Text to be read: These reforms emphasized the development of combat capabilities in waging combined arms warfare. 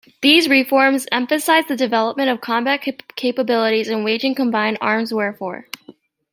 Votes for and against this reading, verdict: 0, 2, rejected